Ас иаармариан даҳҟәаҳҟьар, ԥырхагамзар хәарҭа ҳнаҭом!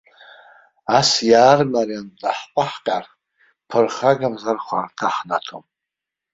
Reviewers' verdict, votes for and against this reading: rejected, 0, 2